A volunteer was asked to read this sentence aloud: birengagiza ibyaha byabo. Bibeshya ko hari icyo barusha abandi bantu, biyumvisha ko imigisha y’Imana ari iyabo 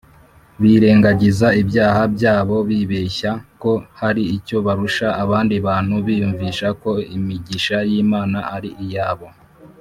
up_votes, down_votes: 3, 0